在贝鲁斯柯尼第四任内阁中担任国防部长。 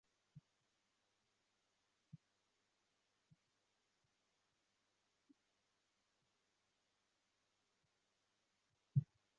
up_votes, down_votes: 0, 4